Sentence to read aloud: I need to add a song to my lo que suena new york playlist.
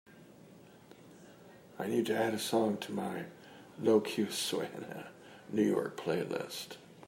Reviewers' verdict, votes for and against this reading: accepted, 2, 0